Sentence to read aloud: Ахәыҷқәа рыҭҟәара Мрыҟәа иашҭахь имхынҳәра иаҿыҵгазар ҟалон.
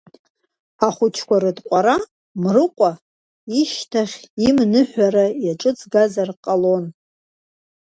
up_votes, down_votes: 1, 2